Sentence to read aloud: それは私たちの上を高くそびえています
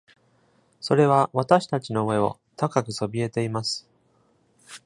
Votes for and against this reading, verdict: 2, 0, accepted